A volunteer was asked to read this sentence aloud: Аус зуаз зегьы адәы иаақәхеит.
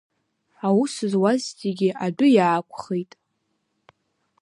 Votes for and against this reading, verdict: 2, 1, accepted